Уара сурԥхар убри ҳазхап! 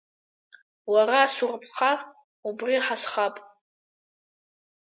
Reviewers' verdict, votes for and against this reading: accepted, 2, 0